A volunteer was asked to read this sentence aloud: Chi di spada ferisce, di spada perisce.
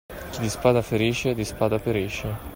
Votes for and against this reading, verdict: 2, 0, accepted